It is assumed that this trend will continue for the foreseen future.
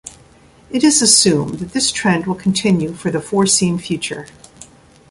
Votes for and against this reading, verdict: 0, 2, rejected